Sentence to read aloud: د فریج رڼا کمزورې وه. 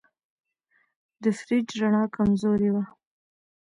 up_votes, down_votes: 1, 2